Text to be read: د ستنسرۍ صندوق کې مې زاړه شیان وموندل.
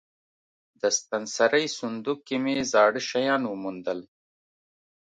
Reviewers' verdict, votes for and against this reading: accepted, 2, 0